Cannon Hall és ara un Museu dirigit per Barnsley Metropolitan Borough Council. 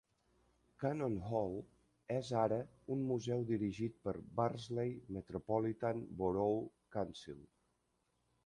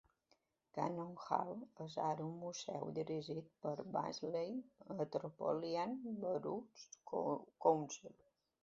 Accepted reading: first